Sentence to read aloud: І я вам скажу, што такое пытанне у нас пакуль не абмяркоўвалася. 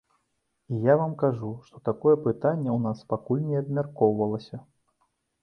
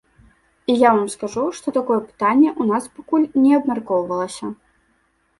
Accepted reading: second